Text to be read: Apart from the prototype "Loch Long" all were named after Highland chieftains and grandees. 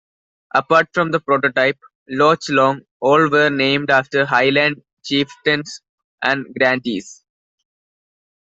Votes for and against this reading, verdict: 0, 2, rejected